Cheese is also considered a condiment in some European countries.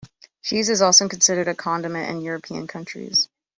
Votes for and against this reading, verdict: 1, 2, rejected